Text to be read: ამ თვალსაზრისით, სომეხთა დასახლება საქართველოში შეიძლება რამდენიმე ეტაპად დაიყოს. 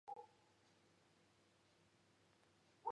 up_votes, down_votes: 1, 2